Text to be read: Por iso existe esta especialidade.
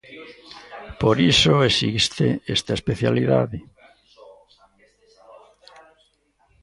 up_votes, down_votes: 2, 0